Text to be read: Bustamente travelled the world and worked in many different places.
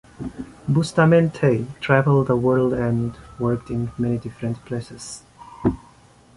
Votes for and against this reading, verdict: 2, 0, accepted